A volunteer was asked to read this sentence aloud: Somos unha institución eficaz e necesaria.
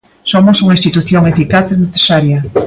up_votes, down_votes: 2, 1